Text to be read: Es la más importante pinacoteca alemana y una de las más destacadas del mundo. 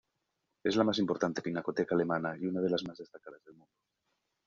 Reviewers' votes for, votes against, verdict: 0, 2, rejected